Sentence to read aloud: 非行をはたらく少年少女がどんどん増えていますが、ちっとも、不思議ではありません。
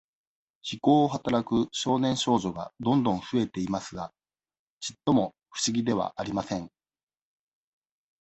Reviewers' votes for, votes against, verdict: 2, 0, accepted